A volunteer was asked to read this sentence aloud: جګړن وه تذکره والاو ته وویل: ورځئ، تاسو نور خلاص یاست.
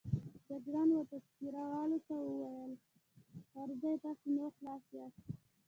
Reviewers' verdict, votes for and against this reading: rejected, 1, 2